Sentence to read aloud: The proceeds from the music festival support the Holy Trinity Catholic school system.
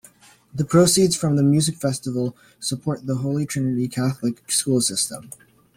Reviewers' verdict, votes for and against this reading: accepted, 2, 0